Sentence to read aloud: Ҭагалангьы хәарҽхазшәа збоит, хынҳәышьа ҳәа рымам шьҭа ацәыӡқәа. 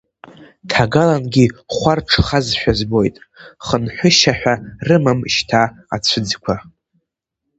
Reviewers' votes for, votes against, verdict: 1, 2, rejected